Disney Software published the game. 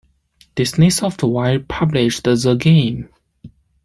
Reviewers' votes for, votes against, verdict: 0, 2, rejected